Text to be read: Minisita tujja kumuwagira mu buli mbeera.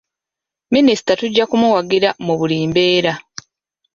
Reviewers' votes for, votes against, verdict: 4, 0, accepted